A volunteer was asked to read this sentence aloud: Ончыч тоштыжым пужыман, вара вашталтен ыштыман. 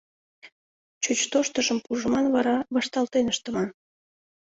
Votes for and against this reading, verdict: 1, 2, rejected